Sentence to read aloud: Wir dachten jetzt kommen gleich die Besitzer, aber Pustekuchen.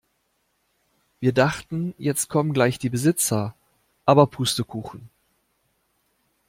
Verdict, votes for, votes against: accepted, 2, 0